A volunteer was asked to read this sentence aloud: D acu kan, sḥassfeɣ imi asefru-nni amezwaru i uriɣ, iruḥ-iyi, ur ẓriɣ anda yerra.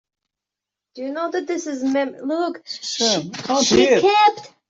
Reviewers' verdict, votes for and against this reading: rejected, 0, 2